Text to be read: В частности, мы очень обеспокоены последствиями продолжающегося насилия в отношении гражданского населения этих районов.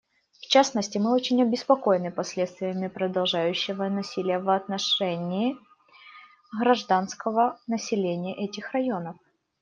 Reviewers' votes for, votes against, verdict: 0, 2, rejected